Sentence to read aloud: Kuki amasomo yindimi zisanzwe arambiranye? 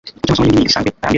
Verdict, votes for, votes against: rejected, 0, 2